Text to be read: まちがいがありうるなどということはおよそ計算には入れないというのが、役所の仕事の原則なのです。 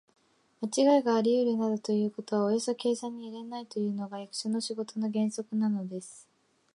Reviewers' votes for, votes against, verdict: 3, 0, accepted